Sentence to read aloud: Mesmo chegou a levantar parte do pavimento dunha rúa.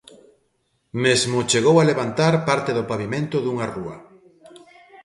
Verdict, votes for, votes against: accepted, 2, 0